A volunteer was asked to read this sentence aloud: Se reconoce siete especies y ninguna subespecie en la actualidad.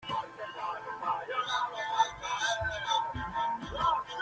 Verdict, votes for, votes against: rejected, 0, 2